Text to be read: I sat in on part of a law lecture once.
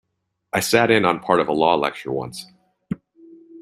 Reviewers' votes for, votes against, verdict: 2, 0, accepted